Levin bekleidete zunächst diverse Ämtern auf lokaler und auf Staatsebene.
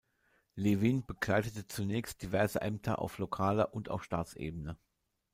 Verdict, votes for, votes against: rejected, 1, 2